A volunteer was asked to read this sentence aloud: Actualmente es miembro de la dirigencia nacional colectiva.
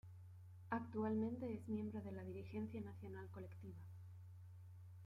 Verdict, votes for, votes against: accepted, 2, 0